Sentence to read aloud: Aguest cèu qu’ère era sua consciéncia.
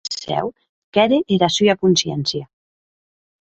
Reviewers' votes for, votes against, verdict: 0, 2, rejected